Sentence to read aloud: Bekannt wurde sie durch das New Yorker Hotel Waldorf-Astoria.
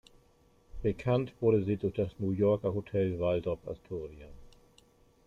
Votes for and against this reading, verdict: 0, 2, rejected